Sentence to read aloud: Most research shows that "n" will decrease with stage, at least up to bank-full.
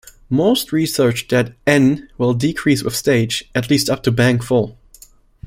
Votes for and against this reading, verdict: 0, 2, rejected